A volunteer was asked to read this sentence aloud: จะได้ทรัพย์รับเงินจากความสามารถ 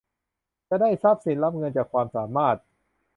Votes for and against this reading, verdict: 1, 2, rejected